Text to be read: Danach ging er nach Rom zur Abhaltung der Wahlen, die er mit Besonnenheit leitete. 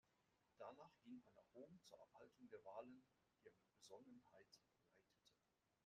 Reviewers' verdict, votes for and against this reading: rejected, 0, 2